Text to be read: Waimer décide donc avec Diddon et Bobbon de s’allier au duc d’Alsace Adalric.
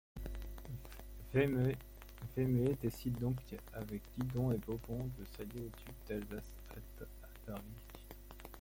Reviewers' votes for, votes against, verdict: 0, 2, rejected